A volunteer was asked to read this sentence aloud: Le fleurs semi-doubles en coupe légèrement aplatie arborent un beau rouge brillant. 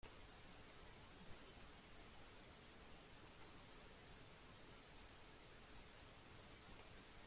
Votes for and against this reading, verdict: 0, 2, rejected